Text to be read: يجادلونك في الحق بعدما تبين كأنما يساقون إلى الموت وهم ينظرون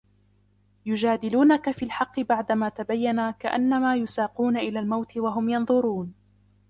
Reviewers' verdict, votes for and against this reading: rejected, 1, 2